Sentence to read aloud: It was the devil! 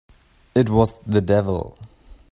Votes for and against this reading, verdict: 3, 0, accepted